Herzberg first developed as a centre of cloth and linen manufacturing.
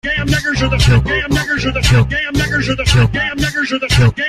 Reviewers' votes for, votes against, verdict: 0, 2, rejected